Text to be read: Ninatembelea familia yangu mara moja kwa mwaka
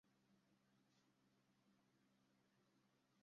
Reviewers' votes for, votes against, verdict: 0, 2, rejected